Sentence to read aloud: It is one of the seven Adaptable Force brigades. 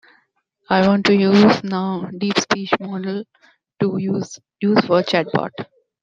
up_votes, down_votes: 0, 2